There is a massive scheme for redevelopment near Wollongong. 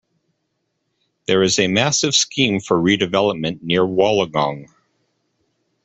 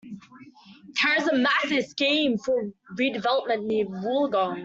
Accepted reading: first